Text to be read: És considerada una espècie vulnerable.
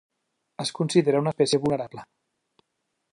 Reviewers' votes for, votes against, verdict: 1, 2, rejected